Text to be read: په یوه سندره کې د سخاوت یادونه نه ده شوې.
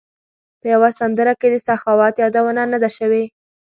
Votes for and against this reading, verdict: 2, 0, accepted